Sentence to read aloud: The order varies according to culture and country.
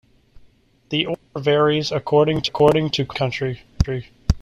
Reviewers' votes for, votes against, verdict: 0, 2, rejected